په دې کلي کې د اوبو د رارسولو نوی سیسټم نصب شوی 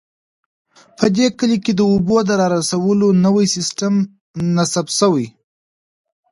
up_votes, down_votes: 2, 0